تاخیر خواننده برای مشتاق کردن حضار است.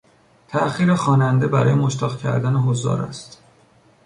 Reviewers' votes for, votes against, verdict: 2, 0, accepted